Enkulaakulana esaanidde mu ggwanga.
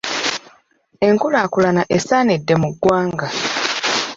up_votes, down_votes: 2, 0